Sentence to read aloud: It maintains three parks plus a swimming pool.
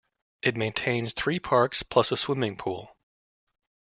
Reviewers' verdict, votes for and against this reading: accepted, 2, 0